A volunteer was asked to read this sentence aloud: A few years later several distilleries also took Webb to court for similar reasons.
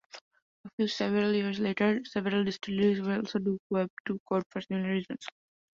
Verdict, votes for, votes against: rejected, 0, 2